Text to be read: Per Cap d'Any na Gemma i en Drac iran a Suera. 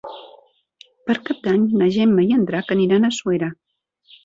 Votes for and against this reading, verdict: 0, 2, rejected